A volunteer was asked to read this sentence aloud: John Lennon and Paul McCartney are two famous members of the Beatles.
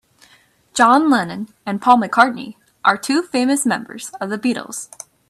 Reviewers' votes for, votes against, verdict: 2, 1, accepted